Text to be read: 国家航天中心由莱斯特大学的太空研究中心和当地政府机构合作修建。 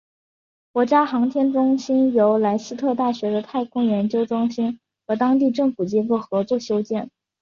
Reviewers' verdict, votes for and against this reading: accepted, 6, 0